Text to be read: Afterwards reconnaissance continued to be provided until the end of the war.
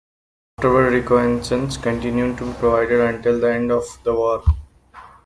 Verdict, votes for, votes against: rejected, 1, 2